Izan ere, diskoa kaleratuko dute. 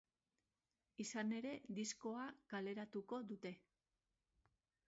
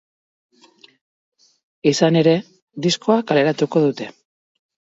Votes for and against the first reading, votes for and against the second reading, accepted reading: 0, 2, 4, 0, second